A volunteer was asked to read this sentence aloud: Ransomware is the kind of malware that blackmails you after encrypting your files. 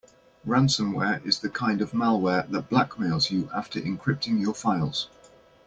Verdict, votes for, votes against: accepted, 2, 1